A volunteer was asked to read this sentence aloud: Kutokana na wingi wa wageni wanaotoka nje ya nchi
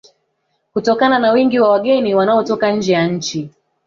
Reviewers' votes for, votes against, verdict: 1, 3, rejected